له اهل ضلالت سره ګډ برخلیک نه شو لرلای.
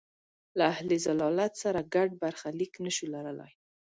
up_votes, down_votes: 2, 0